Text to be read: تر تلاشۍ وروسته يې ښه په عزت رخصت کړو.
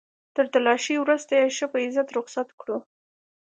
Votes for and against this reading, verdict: 2, 0, accepted